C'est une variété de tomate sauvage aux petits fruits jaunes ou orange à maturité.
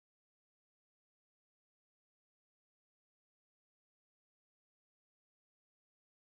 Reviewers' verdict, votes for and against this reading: rejected, 0, 2